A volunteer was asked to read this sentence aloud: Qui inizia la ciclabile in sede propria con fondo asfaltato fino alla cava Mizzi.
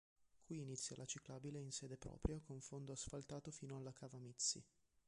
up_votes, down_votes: 0, 2